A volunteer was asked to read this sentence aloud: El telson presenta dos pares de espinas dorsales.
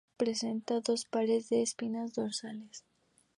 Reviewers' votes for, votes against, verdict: 2, 0, accepted